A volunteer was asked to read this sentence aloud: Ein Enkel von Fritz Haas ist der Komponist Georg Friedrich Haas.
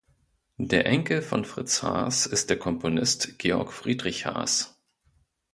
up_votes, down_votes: 0, 2